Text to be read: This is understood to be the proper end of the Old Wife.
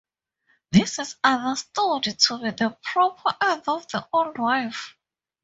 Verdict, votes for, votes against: rejected, 0, 2